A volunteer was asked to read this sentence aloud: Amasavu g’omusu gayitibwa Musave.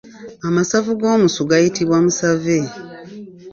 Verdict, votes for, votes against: accepted, 2, 0